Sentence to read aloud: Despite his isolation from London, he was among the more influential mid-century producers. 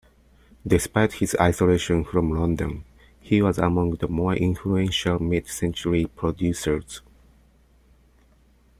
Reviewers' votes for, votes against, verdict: 2, 0, accepted